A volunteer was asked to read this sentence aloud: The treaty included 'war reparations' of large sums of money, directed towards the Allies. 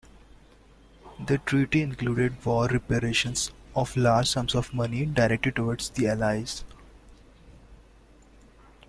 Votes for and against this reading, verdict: 2, 1, accepted